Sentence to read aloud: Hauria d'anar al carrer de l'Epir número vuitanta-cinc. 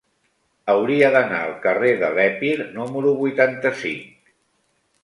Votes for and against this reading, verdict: 1, 2, rejected